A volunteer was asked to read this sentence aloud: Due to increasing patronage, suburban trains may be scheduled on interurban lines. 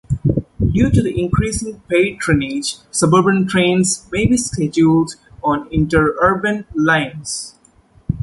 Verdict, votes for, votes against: rejected, 0, 2